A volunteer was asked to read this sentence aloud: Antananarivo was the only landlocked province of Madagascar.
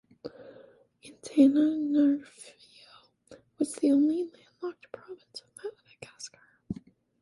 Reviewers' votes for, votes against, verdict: 1, 2, rejected